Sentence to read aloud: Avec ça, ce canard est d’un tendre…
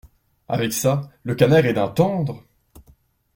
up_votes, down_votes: 0, 2